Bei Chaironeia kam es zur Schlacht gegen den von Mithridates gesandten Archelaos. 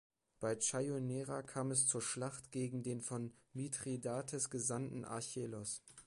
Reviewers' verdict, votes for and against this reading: rejected, 1, 3